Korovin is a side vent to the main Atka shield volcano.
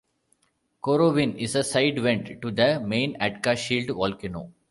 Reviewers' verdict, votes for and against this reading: accepted, 2, 0